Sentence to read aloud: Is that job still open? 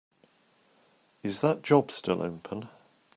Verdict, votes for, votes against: accepted, 2, 0